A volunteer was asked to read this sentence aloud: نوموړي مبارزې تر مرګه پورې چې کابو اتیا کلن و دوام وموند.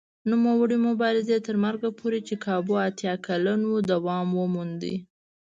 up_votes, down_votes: 2, 0